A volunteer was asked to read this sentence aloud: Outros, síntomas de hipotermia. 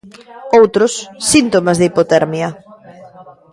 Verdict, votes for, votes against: rejected, 1, 2